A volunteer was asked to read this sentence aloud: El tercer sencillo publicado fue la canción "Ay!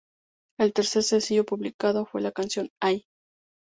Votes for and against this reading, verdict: 2, 0, accepted